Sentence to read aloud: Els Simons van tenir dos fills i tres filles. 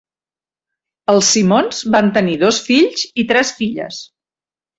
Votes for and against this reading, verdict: 2, 0, accepted